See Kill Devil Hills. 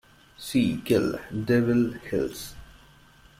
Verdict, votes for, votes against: accepted, 2, 0